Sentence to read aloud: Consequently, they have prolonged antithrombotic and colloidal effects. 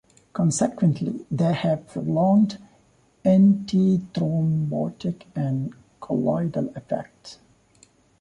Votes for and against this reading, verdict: 1, 2, rejected